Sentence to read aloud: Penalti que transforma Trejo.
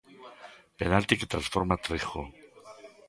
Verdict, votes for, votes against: rejected, 1, 2